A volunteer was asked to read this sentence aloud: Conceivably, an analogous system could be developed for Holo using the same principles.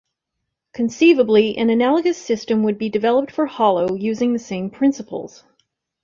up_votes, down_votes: 1, 2